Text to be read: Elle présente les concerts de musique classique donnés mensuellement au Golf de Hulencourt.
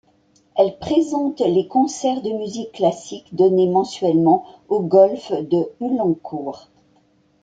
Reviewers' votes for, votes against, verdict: 2, 0, accepted